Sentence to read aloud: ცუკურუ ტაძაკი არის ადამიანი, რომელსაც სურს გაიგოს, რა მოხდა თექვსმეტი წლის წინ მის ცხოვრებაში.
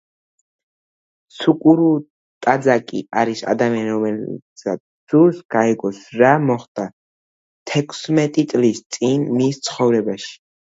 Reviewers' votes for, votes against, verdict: 2, 0, accepted